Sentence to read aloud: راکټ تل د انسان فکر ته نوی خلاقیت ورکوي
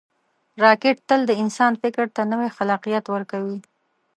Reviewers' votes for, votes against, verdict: 2, 0, accepted